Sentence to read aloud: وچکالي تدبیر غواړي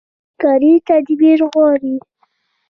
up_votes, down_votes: 1, 2